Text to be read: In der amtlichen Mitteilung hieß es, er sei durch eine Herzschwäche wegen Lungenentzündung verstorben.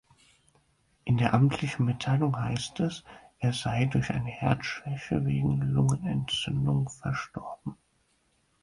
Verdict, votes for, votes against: rejected, 0, 6